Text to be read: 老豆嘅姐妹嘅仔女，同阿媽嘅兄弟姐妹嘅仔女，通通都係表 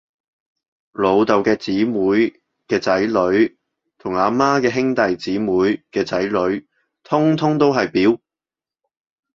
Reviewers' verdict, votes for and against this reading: rejected, 1, 2